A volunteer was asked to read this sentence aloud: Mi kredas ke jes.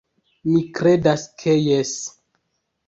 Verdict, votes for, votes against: rejected, 1, 2